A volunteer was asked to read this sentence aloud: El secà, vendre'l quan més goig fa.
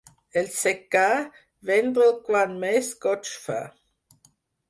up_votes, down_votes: 6, 0